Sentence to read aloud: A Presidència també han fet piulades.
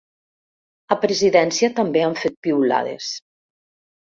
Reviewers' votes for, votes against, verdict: 4, 0, accepted